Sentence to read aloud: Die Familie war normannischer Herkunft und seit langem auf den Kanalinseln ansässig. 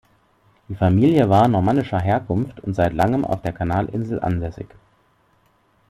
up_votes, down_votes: 1, 2